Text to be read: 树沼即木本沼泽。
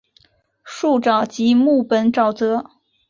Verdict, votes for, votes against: accepted, 3, 0